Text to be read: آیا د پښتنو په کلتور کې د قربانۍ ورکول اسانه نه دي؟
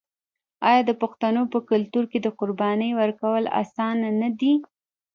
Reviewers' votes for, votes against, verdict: 2, 0, accepted